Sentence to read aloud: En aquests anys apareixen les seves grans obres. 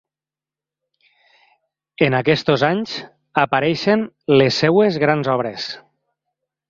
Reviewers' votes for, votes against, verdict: 1, 2, rejected